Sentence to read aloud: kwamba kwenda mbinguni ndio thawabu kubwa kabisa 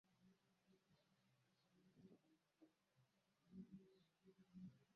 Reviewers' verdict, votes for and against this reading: rejected, 0, 2